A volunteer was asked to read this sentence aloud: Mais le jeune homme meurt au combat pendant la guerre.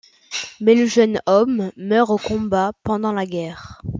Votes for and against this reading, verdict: 2, 0, accepted